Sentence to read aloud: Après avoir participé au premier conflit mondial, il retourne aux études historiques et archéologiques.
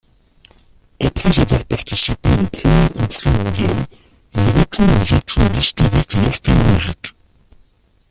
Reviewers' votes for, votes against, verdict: 0, 2, rejected